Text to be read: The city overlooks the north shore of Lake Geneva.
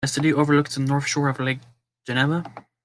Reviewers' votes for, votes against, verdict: 1, 2, rejected